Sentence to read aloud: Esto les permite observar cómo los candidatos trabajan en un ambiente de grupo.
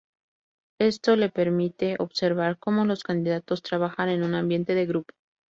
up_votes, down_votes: 2, 2